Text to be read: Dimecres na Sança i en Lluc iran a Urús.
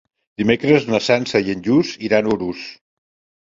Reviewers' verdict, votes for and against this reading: rejected, 0, 2